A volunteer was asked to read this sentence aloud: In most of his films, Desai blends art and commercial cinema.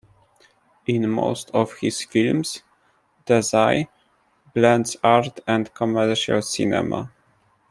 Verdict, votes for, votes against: accepted, 2, 0